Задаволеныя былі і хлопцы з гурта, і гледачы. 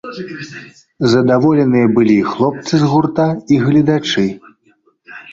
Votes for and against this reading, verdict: 1, 2, rejected